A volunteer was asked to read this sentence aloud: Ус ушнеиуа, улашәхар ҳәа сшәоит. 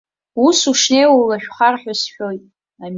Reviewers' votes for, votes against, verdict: 0, 2, rejected